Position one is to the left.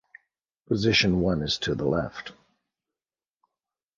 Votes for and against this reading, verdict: 2, 0, accepted